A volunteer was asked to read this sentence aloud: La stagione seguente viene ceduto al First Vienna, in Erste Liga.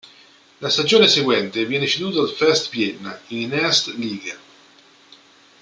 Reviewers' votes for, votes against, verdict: 2, 0, accepted